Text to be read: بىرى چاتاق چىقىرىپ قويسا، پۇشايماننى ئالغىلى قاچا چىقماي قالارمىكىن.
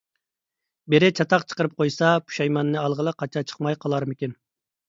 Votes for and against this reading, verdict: 2, 0, accepted